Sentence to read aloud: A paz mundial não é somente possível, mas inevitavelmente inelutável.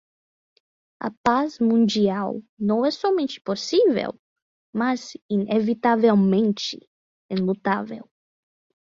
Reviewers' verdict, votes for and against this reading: rejected, 0, 10